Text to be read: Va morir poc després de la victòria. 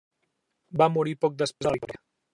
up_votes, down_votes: 0, 3